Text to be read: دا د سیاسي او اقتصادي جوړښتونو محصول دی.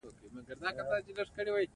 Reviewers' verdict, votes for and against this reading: accepted, 2, 0